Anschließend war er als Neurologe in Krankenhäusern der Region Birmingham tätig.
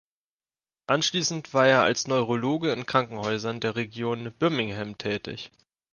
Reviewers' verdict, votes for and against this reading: accepted, 2, 0